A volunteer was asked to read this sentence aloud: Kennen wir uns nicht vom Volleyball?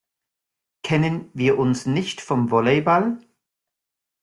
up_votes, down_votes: 2, 1